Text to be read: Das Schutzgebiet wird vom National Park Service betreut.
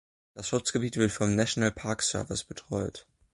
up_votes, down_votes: 2, 0